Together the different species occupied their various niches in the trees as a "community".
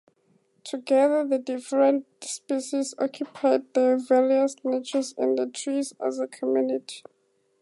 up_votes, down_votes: 4, 0